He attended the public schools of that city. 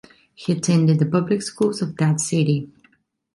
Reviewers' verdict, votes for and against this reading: rejected, 1, 2